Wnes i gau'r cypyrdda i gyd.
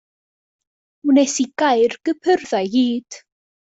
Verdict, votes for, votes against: accepted, 2, 1